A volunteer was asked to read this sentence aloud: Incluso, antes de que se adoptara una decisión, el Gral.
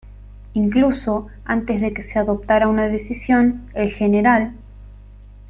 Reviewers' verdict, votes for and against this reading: rejected, 0, 2